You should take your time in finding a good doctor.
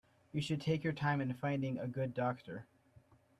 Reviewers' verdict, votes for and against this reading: accepted, 2, 0